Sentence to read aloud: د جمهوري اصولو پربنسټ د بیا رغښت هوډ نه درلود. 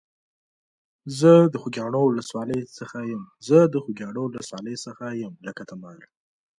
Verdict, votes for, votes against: rejected, 1, 2